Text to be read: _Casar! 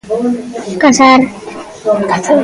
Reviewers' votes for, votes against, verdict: 0, 2, rejected